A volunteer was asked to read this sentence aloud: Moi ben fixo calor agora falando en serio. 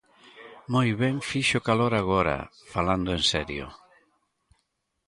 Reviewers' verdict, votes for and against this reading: rejected, 0, 2